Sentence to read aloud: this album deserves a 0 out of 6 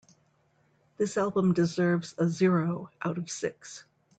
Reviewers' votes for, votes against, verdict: 0, 2, rejected